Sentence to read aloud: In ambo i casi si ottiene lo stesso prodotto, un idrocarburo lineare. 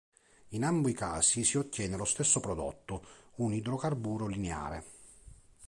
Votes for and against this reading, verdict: 2, 0, accepted